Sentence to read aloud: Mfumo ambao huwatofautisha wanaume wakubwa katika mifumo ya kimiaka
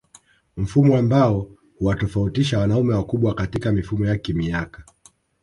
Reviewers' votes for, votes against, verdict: 1, 2, rejected